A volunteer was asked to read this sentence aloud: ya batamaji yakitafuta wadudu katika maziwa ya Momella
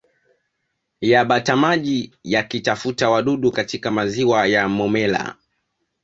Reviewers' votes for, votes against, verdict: 2, 1, accepted